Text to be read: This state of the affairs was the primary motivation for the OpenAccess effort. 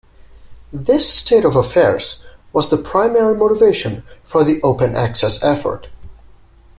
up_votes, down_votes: 1, 2